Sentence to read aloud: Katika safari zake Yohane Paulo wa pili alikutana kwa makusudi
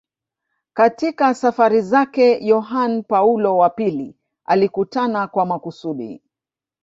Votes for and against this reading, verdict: 1, 2, rejected